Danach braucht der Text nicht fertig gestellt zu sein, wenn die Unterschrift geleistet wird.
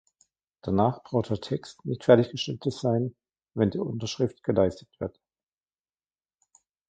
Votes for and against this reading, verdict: 1, 2, rejected